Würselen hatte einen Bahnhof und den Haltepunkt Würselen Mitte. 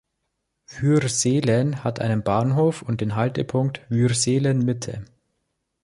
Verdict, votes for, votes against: accepted, 3, 1